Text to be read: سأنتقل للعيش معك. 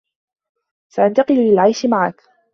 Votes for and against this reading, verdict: 2, 0, accepted